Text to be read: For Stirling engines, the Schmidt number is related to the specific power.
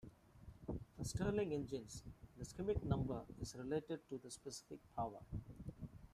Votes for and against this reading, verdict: 1, 2, rejected